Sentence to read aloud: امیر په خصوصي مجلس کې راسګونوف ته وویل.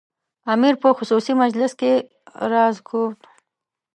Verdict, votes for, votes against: rejected, 0, 2